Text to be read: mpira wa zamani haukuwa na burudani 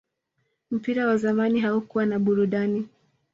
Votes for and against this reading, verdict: 2, 1, accepted